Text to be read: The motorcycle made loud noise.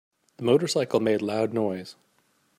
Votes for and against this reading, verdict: 0, 2, rejected